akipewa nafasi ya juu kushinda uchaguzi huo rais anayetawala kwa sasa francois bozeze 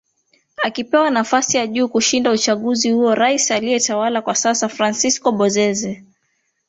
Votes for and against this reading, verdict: 1, 2, rejected